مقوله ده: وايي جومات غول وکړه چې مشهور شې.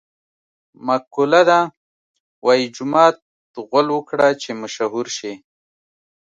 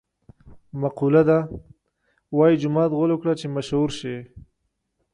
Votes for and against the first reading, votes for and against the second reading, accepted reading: 1, 2, 2, 0, second